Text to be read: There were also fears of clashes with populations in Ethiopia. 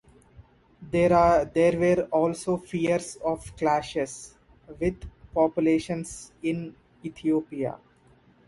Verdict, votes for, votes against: rejected, 0, 3